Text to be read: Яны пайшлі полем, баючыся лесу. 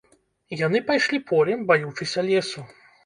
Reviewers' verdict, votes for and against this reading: rejected, 0, 2